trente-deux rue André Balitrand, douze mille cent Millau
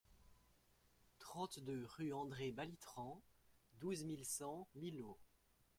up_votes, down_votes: 2, 0